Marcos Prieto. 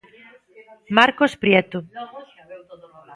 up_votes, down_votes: 0, 2